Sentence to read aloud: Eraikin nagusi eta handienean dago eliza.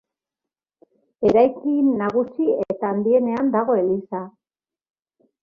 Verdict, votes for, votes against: accepted, 2, 0